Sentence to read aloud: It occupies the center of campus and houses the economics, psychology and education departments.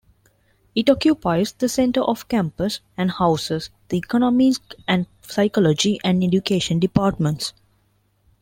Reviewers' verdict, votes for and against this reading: rejected, 0, 2